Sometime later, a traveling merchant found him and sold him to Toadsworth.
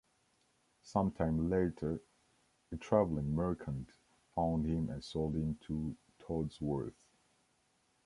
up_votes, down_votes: 1, 2